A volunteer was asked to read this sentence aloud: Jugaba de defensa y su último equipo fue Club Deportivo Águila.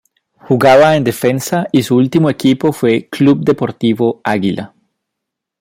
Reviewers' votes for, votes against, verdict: 1, 2, rejected